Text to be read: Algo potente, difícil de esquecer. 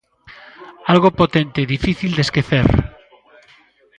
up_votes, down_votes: 0, 2